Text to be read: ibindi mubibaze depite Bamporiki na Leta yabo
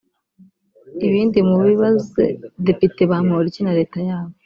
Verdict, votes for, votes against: rejected, 1, 3